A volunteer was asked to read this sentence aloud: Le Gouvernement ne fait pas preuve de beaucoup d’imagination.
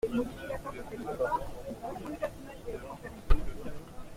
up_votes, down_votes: 0, 2